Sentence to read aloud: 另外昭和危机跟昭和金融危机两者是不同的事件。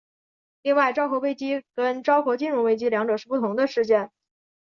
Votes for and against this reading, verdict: 2, 0, accepted